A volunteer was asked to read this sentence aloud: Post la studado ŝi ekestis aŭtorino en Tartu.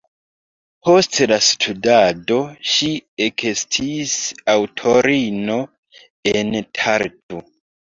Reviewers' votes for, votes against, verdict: 2, 1, accepted